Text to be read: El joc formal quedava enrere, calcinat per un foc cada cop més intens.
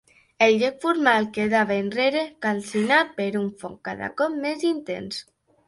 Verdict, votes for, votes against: accepted, 2, 0